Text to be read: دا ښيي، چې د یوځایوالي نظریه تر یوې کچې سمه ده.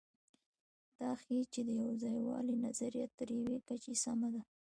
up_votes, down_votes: 0, 2